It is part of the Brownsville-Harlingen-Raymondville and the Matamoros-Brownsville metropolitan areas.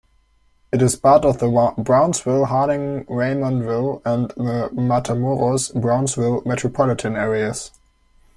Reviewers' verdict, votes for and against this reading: rejected, 1, 2